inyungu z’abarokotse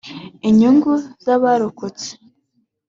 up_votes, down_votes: 4, 0